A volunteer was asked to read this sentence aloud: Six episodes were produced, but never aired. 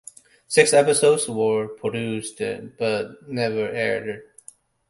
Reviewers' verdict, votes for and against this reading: accepted, 2, 0